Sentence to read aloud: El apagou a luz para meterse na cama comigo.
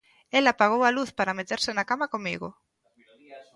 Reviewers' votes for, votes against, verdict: 1, 2, rejected